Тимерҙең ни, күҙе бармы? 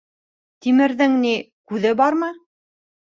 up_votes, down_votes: 2, 0